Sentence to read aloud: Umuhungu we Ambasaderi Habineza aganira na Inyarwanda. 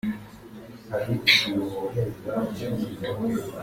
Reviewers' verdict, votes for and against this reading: rejected, 0, 2